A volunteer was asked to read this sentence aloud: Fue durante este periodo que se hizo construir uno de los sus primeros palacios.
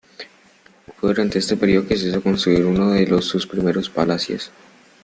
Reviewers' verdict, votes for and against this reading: rejected, 0, 2